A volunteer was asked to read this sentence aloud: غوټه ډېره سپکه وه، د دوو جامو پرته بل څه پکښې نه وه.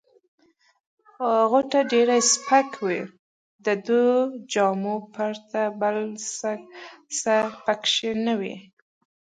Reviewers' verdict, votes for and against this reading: rejected, 0, 2